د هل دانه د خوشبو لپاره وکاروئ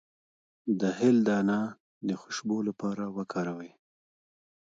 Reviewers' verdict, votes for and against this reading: rejected, 1, 2